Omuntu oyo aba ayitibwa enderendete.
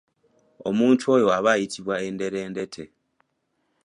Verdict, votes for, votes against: accepted, 2, 0